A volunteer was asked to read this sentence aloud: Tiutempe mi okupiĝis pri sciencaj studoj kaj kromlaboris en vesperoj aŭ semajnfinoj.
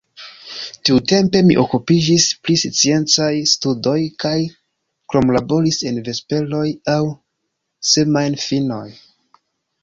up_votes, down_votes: 2, 1